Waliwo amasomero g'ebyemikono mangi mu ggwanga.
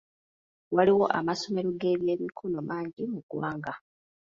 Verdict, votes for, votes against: accepted, 2, 0